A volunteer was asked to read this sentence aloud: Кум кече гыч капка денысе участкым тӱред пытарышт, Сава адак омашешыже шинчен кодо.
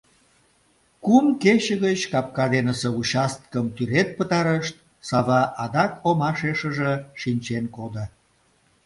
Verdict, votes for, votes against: accepted, 2, 0